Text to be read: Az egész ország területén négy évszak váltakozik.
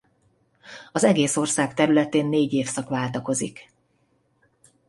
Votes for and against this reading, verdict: 2, 0, accepted